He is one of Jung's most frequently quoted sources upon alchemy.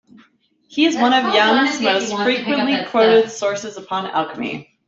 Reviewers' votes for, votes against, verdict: 0, 2, rejected